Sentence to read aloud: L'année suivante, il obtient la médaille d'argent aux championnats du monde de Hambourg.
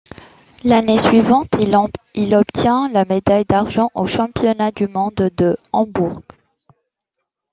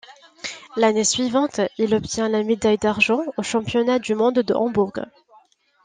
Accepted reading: second